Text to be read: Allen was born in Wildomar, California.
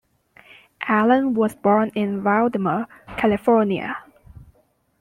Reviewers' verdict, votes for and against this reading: accepted, 2, 0